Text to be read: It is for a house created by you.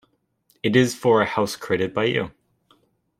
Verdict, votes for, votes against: rejected, 1, 2